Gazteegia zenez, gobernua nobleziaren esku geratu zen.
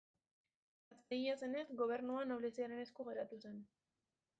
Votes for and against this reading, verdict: 1, 2, rejected